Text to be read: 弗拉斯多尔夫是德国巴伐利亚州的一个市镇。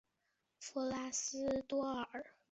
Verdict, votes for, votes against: rejected, 2, 4